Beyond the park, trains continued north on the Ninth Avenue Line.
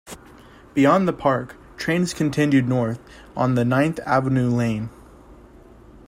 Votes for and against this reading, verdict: 2, 3, rejected